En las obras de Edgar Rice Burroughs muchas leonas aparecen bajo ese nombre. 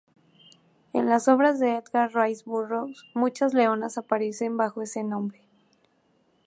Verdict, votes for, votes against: accepted, 4, 0